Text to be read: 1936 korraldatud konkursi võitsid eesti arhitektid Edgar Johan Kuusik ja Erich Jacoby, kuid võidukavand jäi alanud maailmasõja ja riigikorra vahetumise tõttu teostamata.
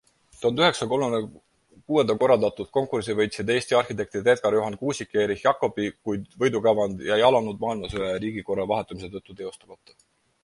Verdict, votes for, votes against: rejected, 0, 2